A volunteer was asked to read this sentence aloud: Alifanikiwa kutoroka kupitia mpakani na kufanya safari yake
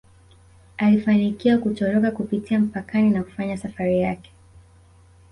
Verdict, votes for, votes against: rejected, 0, 2